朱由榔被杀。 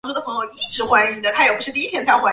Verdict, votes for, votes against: rejected, 1, 2